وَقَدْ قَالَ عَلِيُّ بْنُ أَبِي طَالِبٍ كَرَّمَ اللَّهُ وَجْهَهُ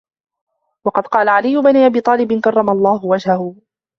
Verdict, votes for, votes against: rejected, 1, 2